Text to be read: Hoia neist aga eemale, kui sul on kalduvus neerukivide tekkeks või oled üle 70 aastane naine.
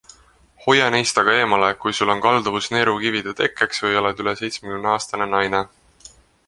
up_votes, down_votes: 0, 2